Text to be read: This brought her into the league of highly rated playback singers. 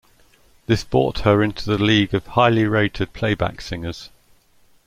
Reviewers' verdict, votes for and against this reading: rejected, 0, 2